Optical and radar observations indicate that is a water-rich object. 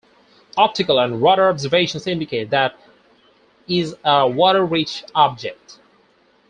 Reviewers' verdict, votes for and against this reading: accepted, 4, 2